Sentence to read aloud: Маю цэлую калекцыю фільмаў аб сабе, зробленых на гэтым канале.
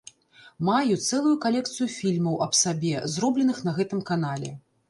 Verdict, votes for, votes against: accepted, 2, 0